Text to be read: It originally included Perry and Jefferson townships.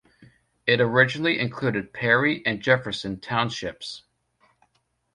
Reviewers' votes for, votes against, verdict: 2, 0, accepted